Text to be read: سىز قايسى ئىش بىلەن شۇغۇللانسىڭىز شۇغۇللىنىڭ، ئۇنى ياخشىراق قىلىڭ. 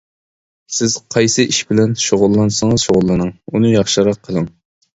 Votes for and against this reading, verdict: 2, 0, accepted